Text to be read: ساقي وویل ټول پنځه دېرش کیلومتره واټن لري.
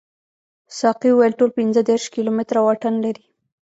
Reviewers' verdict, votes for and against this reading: rejected, 1, 2